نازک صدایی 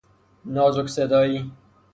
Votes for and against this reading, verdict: 3, 3, rejected